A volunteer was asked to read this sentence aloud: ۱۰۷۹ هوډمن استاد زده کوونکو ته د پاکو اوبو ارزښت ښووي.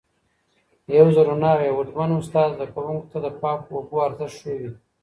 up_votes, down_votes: 0, 2